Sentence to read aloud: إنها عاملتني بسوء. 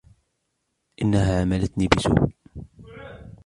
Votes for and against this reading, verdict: 0, 2, rejected